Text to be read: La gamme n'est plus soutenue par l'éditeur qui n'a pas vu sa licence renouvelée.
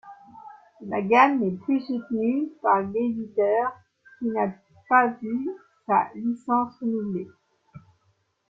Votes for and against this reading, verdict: 2, 1, accepted